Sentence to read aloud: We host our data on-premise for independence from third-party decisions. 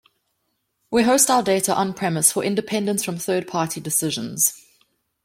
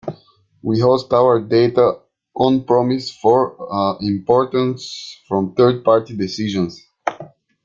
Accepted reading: first